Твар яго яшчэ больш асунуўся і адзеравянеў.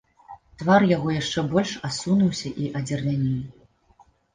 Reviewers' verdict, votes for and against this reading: rejected, 1, 2